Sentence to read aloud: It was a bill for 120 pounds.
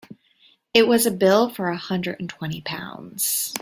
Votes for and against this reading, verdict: 0, 2, rejected